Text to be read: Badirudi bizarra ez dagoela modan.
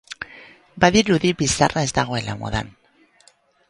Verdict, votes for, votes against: rejected, 0, 2